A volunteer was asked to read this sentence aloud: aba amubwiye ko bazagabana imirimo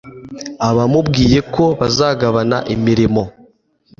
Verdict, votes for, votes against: accepted, 3, 0